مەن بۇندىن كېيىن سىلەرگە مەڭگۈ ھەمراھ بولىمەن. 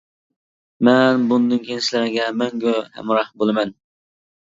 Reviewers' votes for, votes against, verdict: 2, 0, accepted